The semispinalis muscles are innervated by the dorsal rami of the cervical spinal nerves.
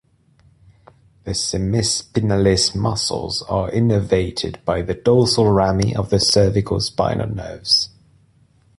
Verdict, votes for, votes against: accepted, 2, 0